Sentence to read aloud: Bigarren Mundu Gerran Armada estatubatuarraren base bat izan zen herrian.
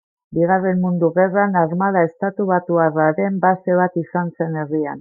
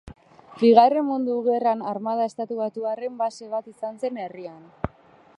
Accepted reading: first